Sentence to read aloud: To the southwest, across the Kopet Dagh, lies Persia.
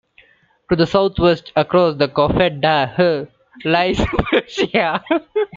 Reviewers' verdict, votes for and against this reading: rejected, 1, 2